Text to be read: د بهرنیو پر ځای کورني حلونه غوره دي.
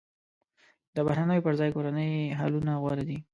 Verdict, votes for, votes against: rejected, 0, 2